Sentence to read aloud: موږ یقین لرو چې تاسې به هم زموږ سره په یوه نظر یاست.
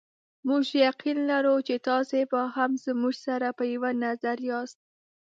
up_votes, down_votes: 3, 0